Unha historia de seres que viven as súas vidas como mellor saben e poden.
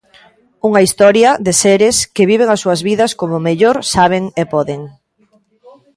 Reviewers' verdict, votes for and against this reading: accepted, 2, 0